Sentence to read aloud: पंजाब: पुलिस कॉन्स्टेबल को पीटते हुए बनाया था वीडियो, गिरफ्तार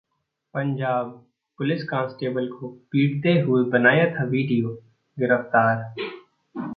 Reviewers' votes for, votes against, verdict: 2, 1, accepted